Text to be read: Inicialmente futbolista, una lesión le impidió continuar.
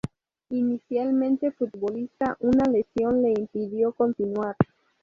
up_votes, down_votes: 0, 2